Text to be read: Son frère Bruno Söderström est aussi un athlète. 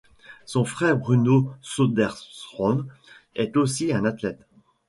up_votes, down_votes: 2, 0